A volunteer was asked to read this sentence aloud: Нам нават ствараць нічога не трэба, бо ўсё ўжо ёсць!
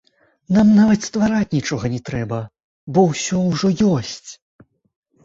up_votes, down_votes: 2, 0